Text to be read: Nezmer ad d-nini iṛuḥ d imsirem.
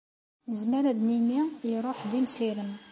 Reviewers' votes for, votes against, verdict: 2, 0, accepted